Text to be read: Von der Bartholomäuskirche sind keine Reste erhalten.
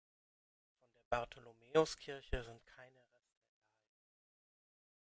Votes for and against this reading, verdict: 0, 2, rejected